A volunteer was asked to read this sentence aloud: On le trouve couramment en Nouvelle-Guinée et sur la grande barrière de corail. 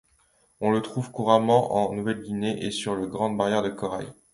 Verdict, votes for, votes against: rejected, 1, 2